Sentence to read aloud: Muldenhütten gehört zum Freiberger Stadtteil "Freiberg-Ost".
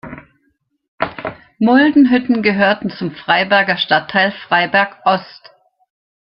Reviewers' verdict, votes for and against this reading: rejected, 1, 2